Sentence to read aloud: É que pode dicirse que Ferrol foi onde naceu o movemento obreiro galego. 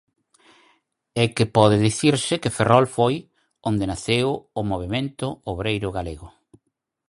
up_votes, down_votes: 4, 0